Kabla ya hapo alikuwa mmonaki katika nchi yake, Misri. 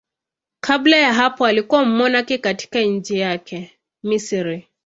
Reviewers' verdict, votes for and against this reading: accepted, 2, 1